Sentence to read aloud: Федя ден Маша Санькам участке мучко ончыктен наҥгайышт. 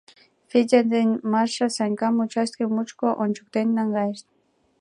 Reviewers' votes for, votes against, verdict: 2, 0, accepted